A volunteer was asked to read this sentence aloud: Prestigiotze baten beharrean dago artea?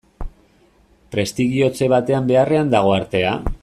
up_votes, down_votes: 1, 2